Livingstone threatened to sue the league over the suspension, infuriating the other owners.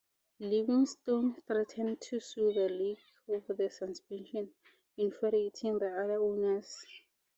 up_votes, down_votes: 4, 0